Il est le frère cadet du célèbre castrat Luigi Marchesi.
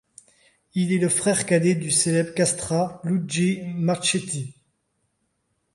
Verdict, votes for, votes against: rejected, 0, 2